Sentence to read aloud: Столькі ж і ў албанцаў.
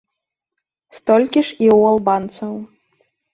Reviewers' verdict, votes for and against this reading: accepted, 2, 0